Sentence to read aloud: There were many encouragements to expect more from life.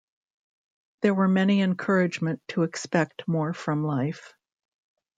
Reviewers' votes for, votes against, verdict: 0, 2, rejected